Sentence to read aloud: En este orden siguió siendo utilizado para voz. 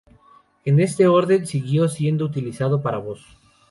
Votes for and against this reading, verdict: 2, 0, accepted